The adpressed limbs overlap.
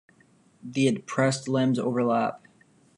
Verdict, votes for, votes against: accepted, 2, 0